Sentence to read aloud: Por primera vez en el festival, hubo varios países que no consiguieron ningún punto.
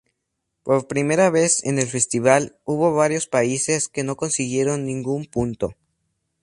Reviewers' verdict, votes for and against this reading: accepted, 2, 0